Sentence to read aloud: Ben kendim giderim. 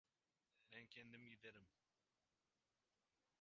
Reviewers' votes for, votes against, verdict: 0, 2, rejected